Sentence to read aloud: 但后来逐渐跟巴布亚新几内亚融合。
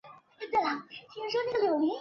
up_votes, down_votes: 1, 2